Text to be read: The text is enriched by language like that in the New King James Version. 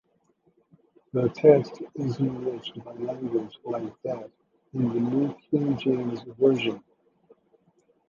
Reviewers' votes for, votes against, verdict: 2, 1, accepted